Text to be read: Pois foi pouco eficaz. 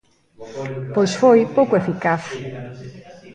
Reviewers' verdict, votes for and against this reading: rejected, 1, 2